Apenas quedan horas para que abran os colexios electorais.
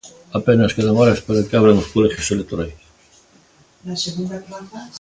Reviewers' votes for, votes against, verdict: 0, 2, rejected